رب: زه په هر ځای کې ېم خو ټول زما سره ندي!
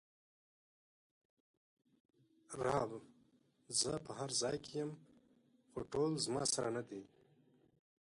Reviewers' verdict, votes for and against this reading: accepted, 2, 1